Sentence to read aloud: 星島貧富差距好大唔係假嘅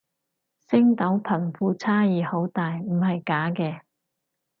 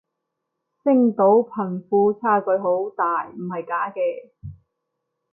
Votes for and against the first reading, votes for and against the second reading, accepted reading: 2, 4, 2, 0, second